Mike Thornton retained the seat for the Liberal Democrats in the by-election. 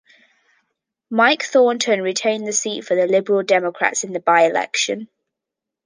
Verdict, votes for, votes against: accepted, 2, 0